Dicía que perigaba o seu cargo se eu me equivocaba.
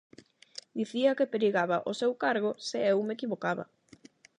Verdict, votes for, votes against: accepted, 8, 0